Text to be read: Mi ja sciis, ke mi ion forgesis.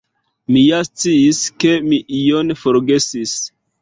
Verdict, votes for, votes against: rejected, 1, 2